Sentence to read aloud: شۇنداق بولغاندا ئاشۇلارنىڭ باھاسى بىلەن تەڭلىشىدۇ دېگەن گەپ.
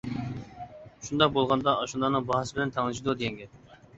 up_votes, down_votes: 2, 0